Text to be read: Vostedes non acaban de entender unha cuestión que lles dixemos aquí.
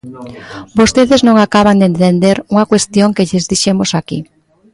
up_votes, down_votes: 1, 2